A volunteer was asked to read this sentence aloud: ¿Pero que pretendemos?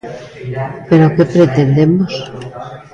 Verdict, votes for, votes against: rejected, 0, 2